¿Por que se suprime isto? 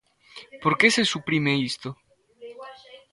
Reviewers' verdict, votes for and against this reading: accepted, 2, 0